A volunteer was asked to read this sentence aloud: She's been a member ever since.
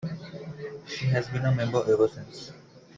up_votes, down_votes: 0, 2